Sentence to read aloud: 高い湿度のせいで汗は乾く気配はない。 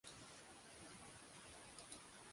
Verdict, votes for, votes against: rejected, 0, 2